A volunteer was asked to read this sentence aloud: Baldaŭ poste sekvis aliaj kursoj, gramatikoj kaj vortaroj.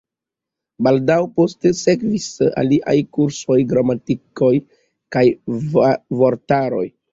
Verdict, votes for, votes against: rejected, 1, 2